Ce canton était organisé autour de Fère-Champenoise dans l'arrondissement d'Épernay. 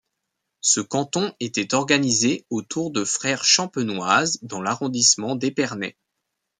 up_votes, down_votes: 1, 2